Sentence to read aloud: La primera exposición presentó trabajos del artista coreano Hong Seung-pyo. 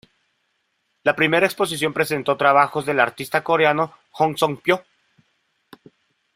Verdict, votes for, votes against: accepted, 2, 0